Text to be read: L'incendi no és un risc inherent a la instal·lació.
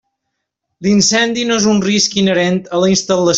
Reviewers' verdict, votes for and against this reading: rejected, 0, 2